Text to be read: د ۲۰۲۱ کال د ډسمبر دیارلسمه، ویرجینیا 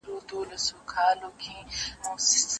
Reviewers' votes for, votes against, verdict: 0, 2, rejected